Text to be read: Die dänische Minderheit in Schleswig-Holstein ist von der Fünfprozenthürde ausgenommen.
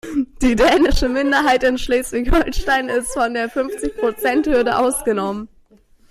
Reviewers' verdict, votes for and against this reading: rejected, 1, 2